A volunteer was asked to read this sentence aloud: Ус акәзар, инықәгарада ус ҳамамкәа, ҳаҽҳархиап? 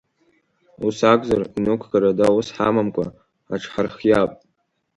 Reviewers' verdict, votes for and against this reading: accepted, 2, 0